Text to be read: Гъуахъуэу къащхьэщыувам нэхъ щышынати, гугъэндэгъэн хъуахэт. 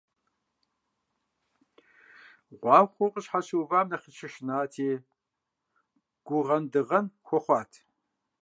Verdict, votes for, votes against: rejected, 1, 2